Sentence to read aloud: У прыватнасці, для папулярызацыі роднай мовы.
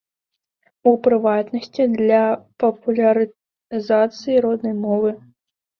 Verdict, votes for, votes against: accepted, 2, 0